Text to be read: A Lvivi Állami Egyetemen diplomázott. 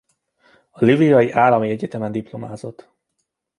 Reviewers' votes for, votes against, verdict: 2, 1, accepted